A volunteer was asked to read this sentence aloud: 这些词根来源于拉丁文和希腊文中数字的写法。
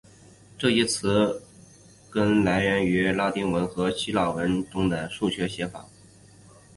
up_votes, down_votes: 1, 2